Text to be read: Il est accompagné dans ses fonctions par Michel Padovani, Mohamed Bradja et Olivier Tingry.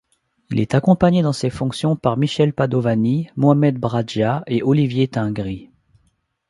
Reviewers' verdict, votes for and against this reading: accepted, 2, 0